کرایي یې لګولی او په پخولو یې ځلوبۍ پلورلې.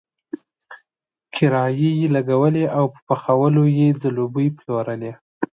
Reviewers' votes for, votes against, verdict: 2, 0, accepted